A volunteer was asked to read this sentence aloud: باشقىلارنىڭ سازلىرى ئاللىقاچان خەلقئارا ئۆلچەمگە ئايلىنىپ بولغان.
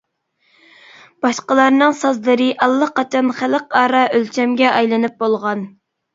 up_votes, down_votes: 2, 0